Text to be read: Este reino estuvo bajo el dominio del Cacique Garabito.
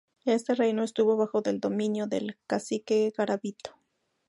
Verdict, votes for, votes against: accepted, 2, 0